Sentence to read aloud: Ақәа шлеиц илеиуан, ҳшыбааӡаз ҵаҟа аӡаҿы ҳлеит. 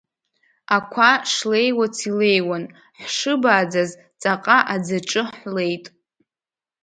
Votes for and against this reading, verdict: 0, 2, rejected